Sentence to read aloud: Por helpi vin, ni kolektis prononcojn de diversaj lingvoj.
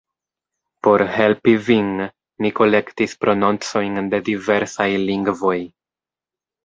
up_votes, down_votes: 2, 0